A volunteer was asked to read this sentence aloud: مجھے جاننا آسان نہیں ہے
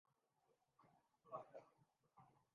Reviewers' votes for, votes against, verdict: 1, 2, rejected